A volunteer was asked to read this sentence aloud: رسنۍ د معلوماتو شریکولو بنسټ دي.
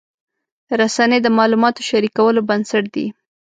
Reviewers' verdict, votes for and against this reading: accepted, 2, 0